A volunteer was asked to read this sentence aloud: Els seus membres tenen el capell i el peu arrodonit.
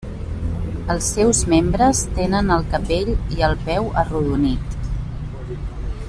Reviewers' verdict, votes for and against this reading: accepted, 2, 1